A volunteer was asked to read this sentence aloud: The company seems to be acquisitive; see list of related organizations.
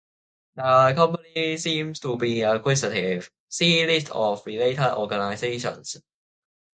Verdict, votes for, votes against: rejected, 0, 2